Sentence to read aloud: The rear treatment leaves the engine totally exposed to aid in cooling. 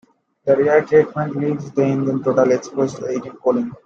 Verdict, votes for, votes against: rejected, 1, 2